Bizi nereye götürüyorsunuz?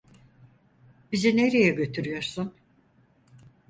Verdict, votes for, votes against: rejected, 0, 4